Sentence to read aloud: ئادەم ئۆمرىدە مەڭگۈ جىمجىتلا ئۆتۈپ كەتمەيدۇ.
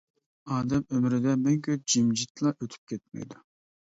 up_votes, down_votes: 2, 0